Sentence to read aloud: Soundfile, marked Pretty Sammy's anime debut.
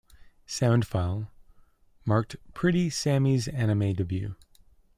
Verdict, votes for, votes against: accepted, 2, 0